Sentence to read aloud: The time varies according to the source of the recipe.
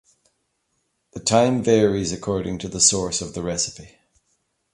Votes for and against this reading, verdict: 2, 0, accepted